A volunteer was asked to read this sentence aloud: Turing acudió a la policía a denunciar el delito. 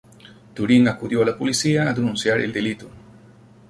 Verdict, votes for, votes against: accepted, 2, 0